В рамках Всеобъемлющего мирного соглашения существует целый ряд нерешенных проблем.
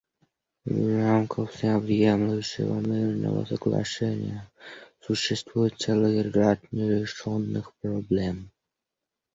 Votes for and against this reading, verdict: 1, 2, rejected